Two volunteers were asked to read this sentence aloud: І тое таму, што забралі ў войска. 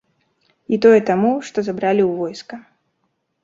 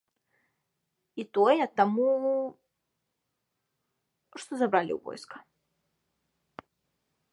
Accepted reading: first